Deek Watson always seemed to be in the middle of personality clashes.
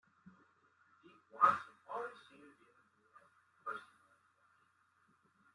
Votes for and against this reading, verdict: 0, 2, rejected